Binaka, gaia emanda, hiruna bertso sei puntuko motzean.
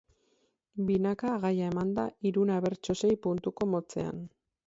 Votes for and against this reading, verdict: 4, 2, accepted